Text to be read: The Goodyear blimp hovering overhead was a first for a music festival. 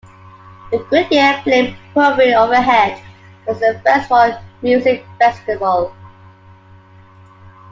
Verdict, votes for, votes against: accepted, 2, 0